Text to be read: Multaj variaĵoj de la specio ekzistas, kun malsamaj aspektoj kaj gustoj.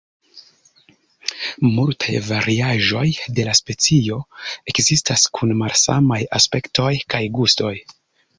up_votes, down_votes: 2, 0